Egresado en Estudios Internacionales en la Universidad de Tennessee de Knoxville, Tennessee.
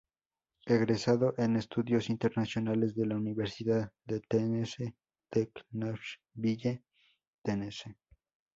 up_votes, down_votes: 0, 4